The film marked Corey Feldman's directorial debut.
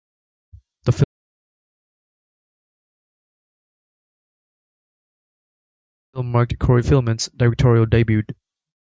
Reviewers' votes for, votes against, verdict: 1, 2, rejected